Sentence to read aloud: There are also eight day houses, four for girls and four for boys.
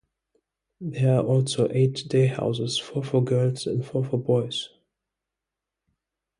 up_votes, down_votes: 2, 0